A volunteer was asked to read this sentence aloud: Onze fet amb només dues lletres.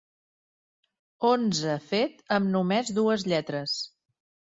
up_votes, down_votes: 3, 0